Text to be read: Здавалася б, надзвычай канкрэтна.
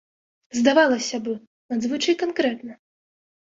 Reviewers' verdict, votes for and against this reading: rejected, 0, 2